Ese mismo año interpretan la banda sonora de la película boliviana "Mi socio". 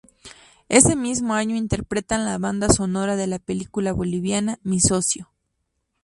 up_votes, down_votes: 2, 0